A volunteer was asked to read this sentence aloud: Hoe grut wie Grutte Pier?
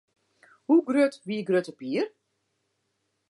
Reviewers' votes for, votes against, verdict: 2, 0, accepted